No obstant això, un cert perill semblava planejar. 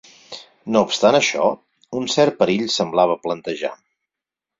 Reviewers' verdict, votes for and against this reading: rejected, 2, 4